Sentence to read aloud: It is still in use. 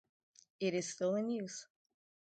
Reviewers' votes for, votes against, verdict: 2, 0, accepted